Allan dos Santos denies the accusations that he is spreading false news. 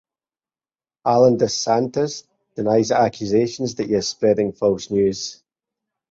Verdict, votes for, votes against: rejected, 2, 2